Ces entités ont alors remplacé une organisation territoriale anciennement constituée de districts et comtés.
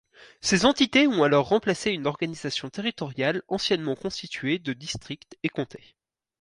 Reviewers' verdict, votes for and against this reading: accepted, 4, 0